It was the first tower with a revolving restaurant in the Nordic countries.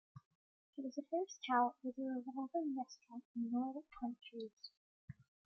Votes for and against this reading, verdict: 1, 2, rejected